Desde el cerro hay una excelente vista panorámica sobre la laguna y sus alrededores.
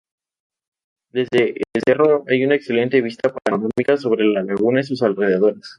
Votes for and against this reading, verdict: 0, 2, rejected